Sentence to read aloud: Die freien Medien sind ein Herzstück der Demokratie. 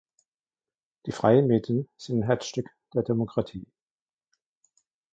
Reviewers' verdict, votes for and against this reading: rejected, 0, 2